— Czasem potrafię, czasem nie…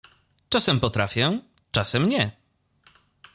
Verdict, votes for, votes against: accepted, 2, 0